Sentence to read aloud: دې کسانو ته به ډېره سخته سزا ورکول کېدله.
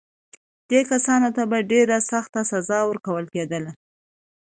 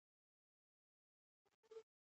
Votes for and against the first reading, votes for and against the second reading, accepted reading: 2, 1, 1, 2, first